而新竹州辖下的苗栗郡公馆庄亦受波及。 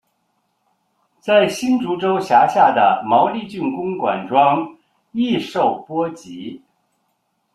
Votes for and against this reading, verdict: 0, 2, rejected